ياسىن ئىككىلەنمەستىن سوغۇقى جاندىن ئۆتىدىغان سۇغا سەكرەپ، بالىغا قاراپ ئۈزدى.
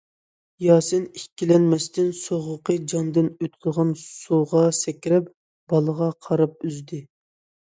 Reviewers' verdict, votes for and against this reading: accepted, 2, 0